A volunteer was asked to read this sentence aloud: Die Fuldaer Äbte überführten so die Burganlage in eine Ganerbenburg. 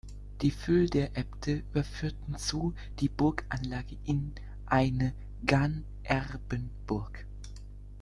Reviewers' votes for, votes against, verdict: 0, 2, rejected